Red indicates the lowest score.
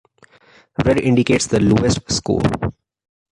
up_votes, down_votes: 2, 1